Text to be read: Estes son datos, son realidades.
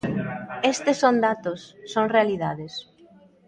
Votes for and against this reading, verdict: 2, 0, accepted